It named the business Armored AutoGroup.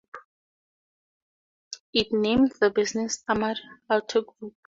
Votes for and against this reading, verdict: 2, 2, rejected